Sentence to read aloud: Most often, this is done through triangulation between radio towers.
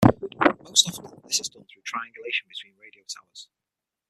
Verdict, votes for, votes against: rejected, 0, 6